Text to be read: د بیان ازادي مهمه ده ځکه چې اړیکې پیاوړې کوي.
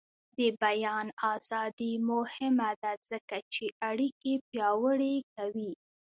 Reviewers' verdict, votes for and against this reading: accepted, 2, 1